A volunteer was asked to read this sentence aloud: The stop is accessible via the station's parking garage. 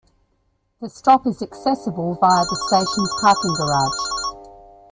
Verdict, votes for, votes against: accepted, 2, 0